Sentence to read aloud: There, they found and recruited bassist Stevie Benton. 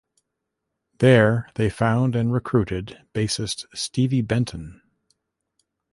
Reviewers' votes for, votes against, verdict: 1, 2, rejected